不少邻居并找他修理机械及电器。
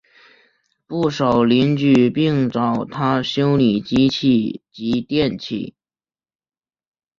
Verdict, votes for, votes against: accepted, 2, 1